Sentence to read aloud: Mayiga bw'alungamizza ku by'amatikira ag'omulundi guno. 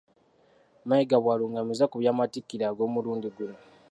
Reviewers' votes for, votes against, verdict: 2, 0, accepted